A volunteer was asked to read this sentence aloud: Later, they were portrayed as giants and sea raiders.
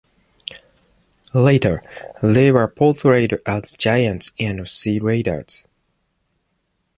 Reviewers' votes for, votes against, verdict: 2, 0, accepted